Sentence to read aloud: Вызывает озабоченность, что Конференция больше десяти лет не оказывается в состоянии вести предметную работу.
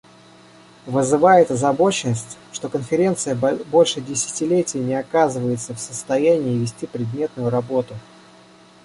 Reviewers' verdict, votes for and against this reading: rejected, 1, 2